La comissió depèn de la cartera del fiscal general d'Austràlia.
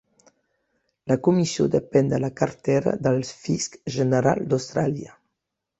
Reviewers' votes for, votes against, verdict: 0, 2, rejected